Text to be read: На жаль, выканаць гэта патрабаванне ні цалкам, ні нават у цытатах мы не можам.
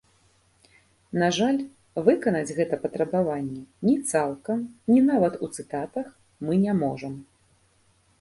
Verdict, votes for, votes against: accepted, 3, 0